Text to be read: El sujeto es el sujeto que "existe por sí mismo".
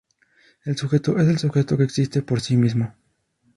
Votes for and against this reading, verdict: 2, 0, accepted